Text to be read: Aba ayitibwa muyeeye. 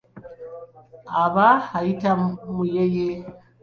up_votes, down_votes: 2, 1